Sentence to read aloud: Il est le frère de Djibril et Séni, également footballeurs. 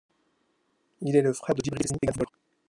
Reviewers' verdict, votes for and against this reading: rejected, 0, 2